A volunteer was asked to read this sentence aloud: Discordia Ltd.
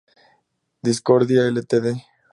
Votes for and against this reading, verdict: 2, 2, rejected